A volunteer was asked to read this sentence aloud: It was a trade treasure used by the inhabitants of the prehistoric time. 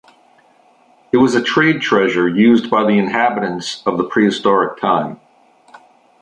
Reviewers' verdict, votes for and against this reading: accepted, 2, 0